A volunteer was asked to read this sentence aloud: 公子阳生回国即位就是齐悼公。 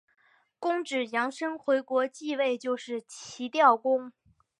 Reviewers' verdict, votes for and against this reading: rejected, 1, 3